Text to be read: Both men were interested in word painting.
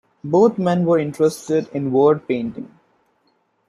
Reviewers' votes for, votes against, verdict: 2, 0, accepted